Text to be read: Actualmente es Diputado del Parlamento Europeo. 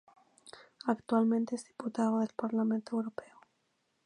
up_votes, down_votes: 4, 0